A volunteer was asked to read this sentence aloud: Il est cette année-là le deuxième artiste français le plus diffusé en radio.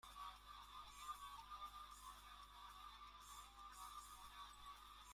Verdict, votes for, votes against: rejected, 0, 2